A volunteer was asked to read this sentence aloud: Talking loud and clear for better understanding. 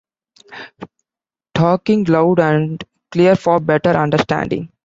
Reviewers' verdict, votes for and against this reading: rejected, 0, 2